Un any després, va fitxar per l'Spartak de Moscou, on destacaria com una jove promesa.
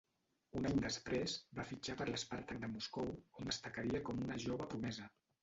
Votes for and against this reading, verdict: 1, 2, rejected